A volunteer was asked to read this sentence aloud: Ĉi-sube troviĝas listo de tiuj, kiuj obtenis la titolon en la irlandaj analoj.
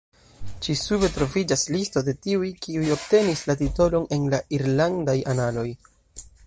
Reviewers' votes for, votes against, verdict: 1, 2, rejected